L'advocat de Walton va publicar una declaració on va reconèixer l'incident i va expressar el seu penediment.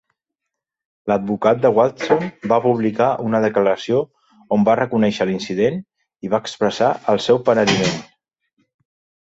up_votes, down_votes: 0, 2